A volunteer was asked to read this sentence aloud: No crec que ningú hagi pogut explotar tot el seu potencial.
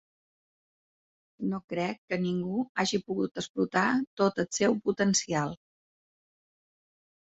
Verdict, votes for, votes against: accepted, 4, 0